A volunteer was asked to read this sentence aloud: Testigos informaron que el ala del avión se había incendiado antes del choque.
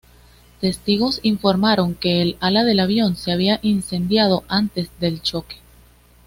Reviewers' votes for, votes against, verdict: 2, 0, accepted